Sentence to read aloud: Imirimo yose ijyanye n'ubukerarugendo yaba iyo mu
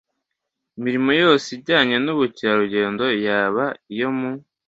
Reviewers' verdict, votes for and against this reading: accepted, 2, 0